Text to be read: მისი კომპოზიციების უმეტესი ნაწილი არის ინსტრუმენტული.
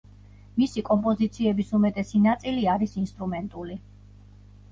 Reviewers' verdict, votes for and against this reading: accepted, 2, 0